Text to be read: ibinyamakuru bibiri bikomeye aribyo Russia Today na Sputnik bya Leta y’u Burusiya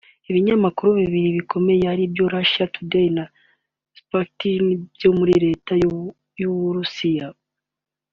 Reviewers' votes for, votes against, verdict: 2, 1, accepted